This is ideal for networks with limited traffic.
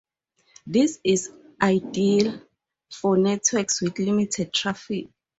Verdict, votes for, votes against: accepted, 2, 0